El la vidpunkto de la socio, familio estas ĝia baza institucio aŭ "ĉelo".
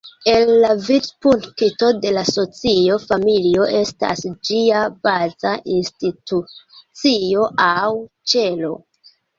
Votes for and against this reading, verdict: 1, 2, rejected